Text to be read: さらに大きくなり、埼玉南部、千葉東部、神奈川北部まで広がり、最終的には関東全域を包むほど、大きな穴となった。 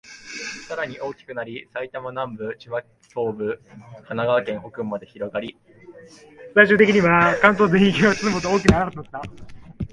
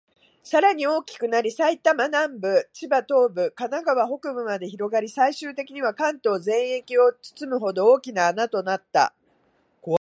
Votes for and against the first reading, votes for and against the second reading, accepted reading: 1, 2, 2, 0, second